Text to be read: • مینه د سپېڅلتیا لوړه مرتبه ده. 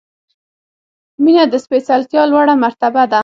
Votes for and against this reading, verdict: 6, 0, accepted